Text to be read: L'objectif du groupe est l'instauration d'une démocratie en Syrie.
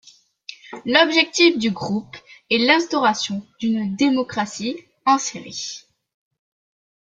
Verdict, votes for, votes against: accepted, 2, 0